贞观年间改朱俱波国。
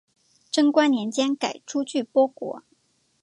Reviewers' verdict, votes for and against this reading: accepted, 2, 0